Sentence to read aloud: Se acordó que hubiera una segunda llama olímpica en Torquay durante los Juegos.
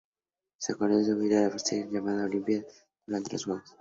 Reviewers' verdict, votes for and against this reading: rejected, 0, 2